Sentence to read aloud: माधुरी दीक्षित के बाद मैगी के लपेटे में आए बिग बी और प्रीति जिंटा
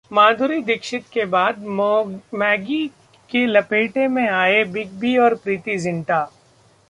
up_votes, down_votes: 1, 2